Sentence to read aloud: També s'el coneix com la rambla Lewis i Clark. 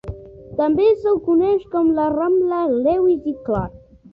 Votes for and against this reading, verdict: 2, 1, accepted